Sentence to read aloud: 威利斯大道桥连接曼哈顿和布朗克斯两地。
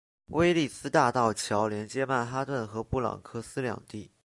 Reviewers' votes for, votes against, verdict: 2, 1, accepted